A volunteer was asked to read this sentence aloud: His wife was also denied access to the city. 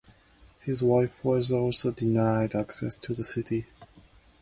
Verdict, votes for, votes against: accepted, 2, 0